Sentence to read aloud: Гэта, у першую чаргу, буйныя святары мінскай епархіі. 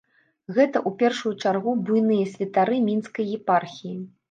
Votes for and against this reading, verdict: 2, 0, accepted